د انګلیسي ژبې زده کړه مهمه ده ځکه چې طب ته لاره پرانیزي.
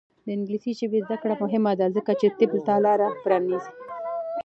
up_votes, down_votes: 2, 0